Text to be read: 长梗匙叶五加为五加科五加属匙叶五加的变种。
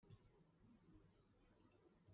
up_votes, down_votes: 0, 2